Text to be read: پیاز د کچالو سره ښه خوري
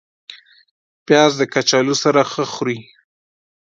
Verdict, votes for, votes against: accepted, 2, 0